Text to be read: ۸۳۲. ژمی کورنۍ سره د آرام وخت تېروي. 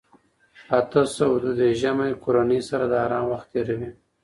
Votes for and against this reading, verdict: 0, 2, rejected